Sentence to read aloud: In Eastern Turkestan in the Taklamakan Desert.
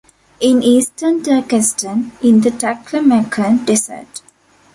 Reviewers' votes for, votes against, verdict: 2, 1, accepted